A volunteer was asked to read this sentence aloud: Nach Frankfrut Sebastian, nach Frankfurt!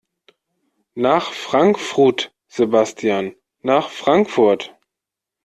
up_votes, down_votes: 2, 0